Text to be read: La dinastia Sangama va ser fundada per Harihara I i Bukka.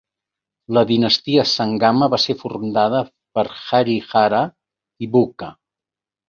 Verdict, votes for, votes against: rejected, 1, 2